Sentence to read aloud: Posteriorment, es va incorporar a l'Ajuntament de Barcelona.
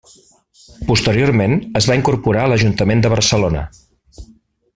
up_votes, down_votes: 3, 0